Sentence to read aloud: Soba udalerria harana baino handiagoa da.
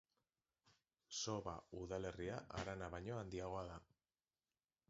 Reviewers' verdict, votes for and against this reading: accepted, 2, 0